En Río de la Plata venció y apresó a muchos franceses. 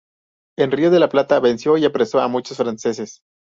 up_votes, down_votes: 2, 2